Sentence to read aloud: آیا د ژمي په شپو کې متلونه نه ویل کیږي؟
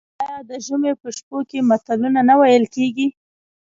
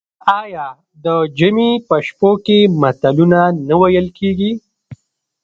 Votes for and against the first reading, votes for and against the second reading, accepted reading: 1, 2, 2, 0, second